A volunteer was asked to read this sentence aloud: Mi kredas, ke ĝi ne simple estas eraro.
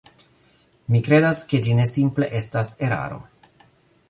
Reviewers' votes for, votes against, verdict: 2, 0, accepted